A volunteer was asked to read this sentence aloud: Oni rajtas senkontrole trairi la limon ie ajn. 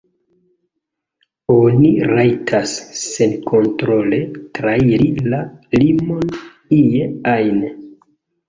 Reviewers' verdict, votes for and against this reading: accepted, 2, 0